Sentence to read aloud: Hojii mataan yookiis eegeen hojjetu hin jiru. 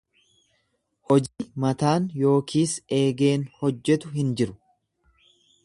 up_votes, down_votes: 0, 2